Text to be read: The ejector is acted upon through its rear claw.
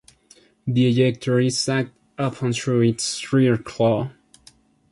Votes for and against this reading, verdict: 1, 2, rejected